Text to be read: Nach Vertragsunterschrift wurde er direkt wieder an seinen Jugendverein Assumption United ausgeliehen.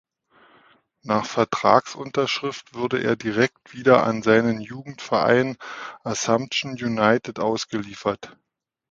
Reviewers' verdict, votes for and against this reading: rejected, 0, 2